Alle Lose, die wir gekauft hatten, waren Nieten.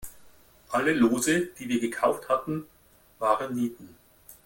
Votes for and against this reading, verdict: 2, 0, accepted